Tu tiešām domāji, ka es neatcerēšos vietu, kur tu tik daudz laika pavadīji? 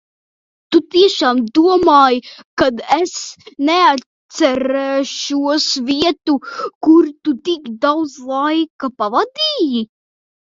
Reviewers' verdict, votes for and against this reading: rejected, 0, 2